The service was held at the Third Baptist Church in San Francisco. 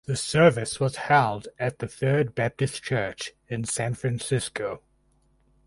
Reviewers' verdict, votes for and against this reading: accepted, 4, 0